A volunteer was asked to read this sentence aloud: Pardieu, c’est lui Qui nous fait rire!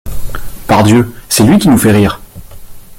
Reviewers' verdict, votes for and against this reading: accepted, 2, 0